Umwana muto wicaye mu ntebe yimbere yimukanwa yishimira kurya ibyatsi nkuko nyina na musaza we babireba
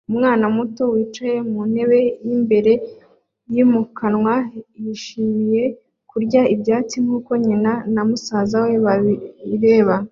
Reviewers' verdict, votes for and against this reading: accepted, 2, 0